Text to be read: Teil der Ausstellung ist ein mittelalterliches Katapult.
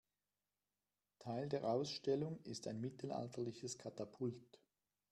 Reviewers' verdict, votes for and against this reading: rejected, 1, 2